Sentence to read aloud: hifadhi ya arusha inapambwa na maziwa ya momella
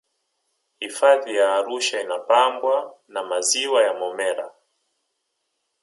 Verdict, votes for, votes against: rejected, 1, 2